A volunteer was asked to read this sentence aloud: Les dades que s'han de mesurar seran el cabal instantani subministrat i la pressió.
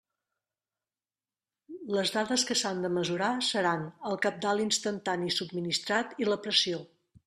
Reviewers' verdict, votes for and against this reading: rejected, 1, 2